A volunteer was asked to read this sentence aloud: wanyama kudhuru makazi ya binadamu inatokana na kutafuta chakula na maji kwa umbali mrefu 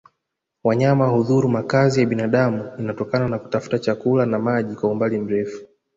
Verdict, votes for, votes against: accepted, 2, 0